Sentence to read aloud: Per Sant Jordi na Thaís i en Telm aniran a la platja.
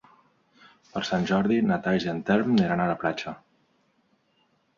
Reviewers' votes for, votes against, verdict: 2, 0, accepted